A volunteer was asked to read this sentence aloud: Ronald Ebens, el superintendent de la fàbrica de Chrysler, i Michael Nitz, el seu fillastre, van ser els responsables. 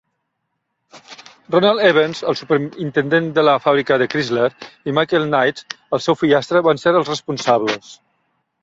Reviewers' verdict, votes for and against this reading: rejected, 1, 2